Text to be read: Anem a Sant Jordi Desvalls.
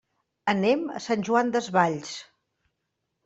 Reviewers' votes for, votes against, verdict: 1, 2, rejected